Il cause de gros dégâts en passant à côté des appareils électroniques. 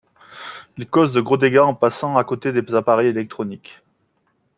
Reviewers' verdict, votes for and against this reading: accepted, 2, 0